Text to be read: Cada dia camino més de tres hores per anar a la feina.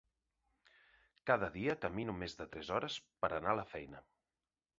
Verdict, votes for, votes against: accepted, 2, 0